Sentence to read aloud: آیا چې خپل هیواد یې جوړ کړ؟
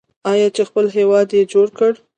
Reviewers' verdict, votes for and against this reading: rejected, 0, 2